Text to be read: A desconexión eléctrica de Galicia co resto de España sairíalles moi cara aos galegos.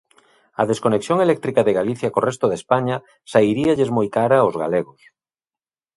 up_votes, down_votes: 2, 0